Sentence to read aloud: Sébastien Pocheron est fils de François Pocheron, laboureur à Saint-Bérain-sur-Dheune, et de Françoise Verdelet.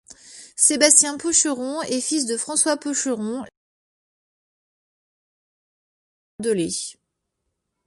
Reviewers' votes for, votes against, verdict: 0, 2, rejected